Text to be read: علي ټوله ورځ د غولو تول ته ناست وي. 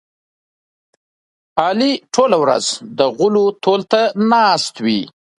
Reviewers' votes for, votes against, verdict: 2, 0, accepted